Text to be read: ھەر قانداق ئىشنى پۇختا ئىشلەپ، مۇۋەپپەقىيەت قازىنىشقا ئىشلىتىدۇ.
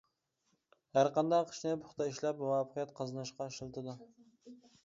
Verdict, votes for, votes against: rejected, 0, 2